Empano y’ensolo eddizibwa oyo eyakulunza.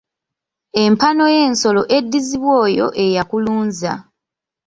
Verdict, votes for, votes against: rejected, 1, 2